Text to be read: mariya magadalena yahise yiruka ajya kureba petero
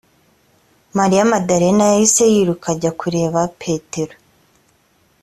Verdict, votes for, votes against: rejected, 1, 2